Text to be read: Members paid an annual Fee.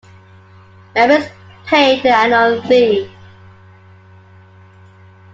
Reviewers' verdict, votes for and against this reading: accepted, 2, 1